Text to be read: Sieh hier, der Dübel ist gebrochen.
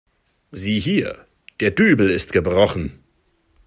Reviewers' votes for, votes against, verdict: 2, 0, accepted